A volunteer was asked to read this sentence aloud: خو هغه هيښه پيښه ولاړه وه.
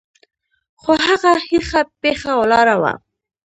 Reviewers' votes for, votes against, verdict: 2, 0, accepted